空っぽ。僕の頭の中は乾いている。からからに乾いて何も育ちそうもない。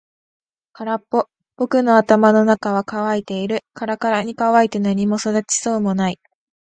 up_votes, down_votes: 10, 0